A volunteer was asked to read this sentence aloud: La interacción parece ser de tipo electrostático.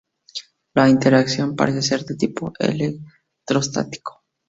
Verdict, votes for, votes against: accepted, 2, 0